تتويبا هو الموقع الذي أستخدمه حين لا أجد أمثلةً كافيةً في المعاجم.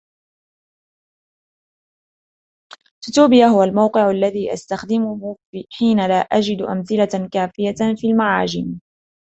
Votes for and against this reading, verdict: 1, 2, rejected